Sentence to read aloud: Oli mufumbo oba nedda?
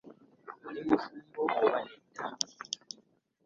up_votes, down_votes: 2, 1